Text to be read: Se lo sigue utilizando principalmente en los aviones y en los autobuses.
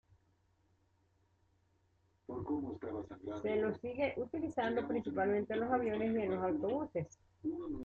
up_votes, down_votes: 0, 2